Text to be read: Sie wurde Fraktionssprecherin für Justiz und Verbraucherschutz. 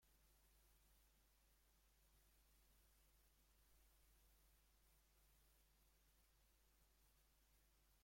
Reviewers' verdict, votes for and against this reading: rejected, 0, 2